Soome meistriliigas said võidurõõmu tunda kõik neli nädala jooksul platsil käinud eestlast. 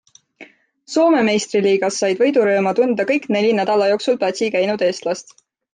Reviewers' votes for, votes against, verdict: 2, 0, accepted